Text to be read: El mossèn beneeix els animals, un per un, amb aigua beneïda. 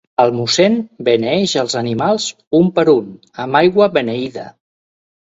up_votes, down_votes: 4, 0